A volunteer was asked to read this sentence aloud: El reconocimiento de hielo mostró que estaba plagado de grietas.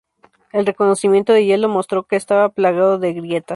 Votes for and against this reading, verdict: 2, 0, accepted